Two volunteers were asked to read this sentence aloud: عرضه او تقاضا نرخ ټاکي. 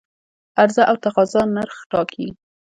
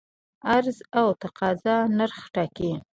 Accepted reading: first